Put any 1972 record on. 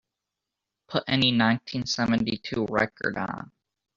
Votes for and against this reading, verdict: 0, 2, rejected